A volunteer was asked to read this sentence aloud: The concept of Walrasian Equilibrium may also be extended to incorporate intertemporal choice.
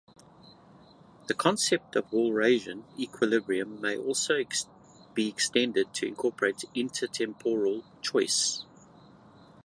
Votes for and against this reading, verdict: 1, 2, rejected